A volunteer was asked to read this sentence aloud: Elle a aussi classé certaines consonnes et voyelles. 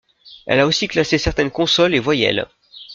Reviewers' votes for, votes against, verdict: 1, 2, rejected